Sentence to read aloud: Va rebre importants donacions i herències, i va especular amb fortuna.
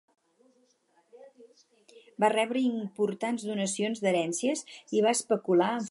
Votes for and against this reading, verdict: 2, 4, rejected